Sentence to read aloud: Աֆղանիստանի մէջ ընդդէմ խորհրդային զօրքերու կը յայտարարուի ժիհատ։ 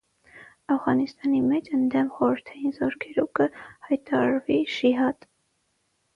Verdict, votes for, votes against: rejected, 3, 6